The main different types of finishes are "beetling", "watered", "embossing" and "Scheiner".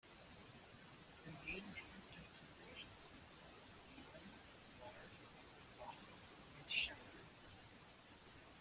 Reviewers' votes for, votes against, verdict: 0, 2, rejected